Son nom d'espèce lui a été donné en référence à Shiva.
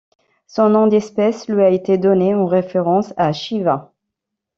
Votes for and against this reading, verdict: 1, 2, rejected